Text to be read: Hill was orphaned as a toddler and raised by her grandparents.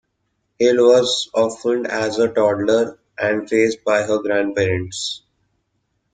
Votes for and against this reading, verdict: 2, 0, accepted